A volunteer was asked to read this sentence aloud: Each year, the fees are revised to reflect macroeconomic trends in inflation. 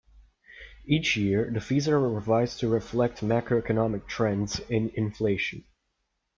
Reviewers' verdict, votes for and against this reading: accepted, 2, 0